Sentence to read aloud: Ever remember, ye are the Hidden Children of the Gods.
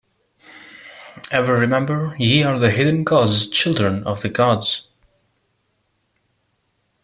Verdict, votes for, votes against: rejected, 0, 2